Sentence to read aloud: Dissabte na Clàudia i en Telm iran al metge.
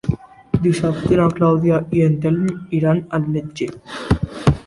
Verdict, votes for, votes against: accepted, 2, 1